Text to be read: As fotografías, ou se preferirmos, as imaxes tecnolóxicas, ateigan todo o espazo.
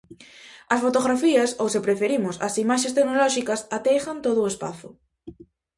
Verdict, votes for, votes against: rejected, 0, 2